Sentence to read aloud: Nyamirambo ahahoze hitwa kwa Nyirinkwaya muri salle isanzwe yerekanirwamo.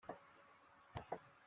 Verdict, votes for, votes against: rejected, 0, 2